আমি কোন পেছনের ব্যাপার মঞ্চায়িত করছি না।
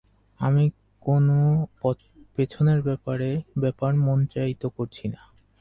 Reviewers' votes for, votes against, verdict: 0, 4, rejected